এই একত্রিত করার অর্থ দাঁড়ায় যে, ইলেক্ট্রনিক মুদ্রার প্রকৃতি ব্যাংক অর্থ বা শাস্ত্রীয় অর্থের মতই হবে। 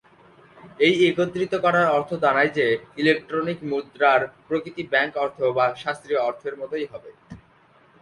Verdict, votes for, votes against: accepted, 3, 0